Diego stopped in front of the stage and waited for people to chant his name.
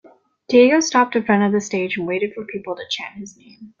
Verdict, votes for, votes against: accepted, 2, 1